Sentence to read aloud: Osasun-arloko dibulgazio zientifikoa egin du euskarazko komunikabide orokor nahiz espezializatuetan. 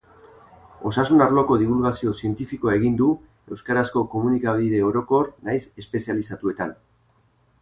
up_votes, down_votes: 0, 2